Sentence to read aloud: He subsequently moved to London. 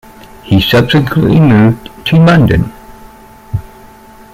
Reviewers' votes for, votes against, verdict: 2, 1, accepted